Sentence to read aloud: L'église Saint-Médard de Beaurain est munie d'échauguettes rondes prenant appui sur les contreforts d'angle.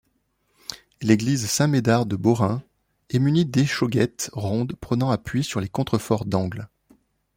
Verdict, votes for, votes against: accepted, 2, 0